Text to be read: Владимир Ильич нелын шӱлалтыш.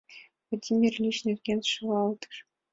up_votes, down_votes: 2, 1